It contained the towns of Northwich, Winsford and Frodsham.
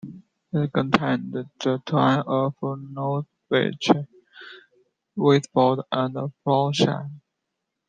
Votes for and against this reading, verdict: 0, 2, rejected